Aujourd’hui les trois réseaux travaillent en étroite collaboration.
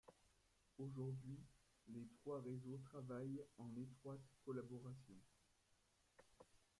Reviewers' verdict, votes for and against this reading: rejected, 0, 2